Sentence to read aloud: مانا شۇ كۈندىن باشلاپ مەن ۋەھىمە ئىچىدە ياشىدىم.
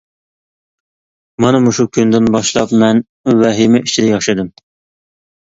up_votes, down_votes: 1, 2